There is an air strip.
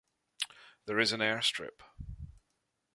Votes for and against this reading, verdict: 2, 0, accepted